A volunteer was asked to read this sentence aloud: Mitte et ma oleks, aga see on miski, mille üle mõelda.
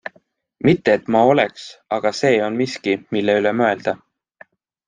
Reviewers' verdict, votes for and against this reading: accepted, 2, 0